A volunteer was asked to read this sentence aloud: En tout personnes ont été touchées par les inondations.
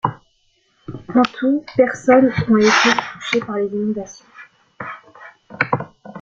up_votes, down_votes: 0, 2